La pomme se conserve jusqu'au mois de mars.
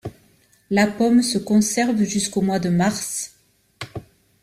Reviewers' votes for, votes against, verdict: 1, 2, rejected